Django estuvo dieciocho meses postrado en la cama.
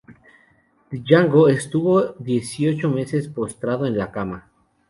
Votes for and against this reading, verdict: 2, 2, rejected